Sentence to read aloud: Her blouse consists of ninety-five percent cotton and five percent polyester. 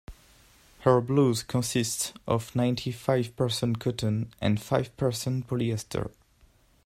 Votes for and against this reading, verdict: 1, 2, rejected